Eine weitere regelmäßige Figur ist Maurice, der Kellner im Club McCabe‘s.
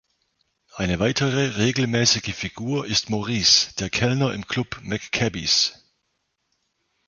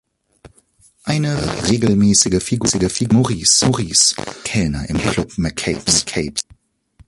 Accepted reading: first